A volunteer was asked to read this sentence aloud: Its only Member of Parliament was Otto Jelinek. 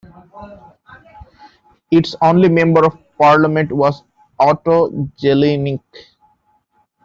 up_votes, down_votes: 0, 2